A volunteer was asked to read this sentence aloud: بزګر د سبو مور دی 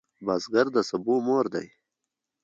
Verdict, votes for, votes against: rejected, 1, 2